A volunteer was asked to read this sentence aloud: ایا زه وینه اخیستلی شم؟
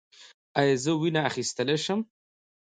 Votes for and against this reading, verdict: 2, 0, accepted